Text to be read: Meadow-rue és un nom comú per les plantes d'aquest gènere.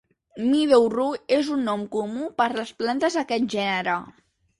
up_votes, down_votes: 2, 0